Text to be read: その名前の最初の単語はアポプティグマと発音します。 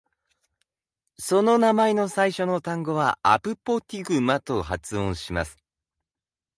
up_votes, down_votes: 1, 2